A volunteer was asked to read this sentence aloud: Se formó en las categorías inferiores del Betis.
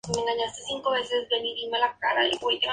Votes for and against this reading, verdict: 0, 2, rejected